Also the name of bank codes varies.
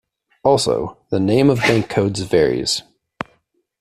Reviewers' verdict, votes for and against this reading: rejected, 1, 2